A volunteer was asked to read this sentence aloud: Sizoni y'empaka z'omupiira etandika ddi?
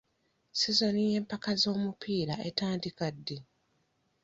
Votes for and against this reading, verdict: 2, 0, accepted